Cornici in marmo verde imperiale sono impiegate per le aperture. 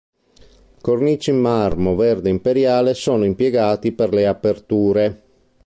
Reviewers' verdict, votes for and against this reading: rejected, 0, 2